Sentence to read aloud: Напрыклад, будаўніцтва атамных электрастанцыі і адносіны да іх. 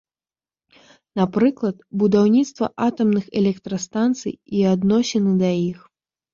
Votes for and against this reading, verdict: 1, 2, rejected